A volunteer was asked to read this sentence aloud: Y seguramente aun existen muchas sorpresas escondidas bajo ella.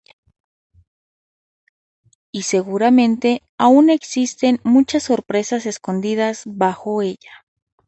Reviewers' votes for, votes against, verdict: 2, 0, accepted